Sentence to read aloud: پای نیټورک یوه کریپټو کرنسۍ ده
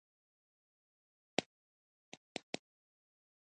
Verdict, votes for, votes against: rejected, 1, 2